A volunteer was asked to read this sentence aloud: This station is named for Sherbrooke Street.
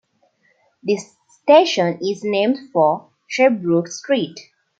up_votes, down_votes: 2, 0